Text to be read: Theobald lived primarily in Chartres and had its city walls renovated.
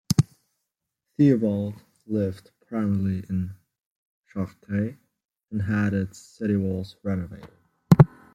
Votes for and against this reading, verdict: 1, 2, rejected